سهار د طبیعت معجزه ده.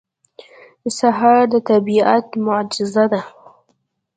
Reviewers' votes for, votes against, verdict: 2, 0, accepted